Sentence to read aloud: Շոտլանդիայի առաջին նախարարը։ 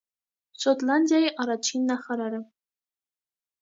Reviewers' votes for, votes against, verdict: 2, 0, accepted